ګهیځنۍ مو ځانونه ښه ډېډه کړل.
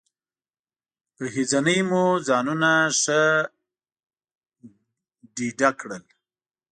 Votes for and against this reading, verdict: 1, 2, rejected